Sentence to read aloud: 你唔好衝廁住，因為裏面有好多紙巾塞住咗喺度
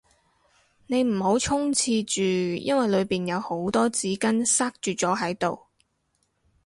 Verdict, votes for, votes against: rejected, 2, 2